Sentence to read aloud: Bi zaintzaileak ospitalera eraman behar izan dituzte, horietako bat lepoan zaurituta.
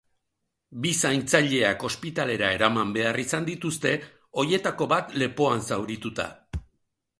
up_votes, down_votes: 1, 3